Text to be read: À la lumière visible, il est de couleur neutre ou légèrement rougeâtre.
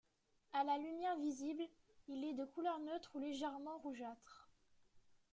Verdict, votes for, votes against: rejected, 0, 2